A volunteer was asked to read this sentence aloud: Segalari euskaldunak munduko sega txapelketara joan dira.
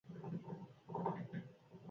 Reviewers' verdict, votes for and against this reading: rejected, 0, 8